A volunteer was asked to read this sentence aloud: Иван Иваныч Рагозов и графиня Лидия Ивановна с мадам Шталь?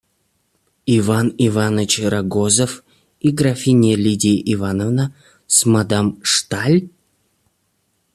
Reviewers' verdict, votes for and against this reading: accepted, 2, 0